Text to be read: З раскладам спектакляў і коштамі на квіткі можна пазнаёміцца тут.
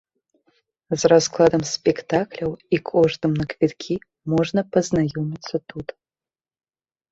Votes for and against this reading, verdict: 1, 2, rejected